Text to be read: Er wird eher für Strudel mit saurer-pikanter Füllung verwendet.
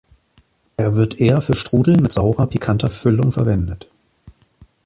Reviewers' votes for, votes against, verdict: 3, 0, accepted